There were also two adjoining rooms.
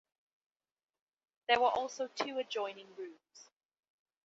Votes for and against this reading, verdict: 2, 0, accepted